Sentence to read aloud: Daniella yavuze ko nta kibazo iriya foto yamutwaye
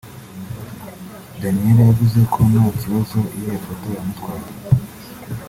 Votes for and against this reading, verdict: 2, 0, accepted